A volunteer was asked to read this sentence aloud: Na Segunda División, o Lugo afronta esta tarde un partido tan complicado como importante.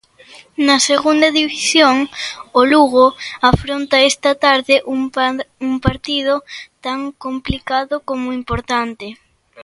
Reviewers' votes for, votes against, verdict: 0, 2, rejected